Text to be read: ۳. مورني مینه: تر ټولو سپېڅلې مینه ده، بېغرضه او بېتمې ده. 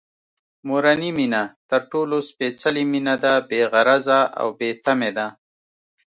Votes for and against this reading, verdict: 0, 2, rejected